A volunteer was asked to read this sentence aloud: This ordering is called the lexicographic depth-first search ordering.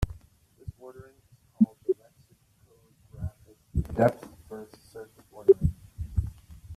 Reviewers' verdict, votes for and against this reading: rejected, 0, 2